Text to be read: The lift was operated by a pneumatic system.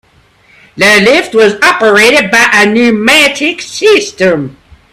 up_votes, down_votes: 0, 2